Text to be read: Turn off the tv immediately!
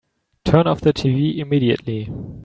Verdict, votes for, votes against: accepted, 2, 0